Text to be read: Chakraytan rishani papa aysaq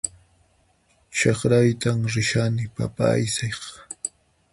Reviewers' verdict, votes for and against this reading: rejected, 0, 6